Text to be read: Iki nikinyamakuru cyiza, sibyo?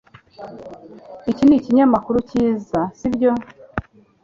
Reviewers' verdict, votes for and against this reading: accepted, 2, 0